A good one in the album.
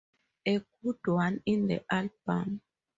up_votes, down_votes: 2, 0